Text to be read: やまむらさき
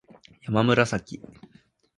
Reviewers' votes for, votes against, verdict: 2, 0, accepted